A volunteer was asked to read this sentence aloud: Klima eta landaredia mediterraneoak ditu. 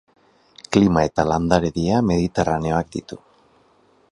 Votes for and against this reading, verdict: 0, 2, rejected